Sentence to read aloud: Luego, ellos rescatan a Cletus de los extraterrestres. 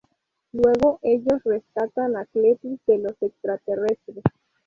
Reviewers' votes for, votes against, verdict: 0, 2, rejected